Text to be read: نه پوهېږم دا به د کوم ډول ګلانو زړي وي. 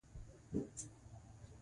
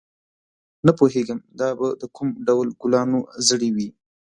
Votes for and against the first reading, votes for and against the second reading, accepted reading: 0, 2, 2, 0, second